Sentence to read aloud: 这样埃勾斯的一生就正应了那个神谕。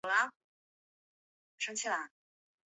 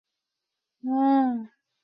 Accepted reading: first